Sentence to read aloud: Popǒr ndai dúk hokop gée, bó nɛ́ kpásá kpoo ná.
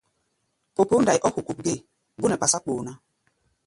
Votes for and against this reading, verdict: 0, 2, rejected